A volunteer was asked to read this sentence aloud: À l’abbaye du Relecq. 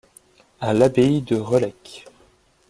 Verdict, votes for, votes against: rejected, 1, 2